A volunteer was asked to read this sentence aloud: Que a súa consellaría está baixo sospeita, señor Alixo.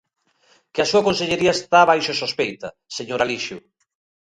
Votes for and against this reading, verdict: 0, 2, rejected